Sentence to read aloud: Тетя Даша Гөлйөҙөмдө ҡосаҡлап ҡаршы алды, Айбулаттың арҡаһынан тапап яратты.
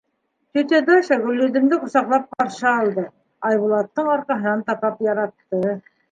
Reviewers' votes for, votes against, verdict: 2, 1, accepted